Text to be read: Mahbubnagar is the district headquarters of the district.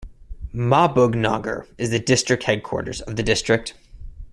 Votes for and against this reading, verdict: 2, 0, accepted